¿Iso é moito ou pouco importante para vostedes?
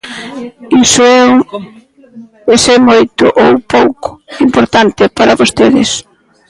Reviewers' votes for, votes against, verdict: 0, 2, rejected